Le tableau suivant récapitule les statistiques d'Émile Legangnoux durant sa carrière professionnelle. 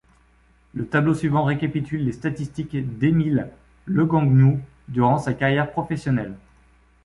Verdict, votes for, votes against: rejected, 1, 2